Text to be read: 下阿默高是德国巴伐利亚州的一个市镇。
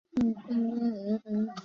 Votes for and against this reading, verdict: 0, 6, rejected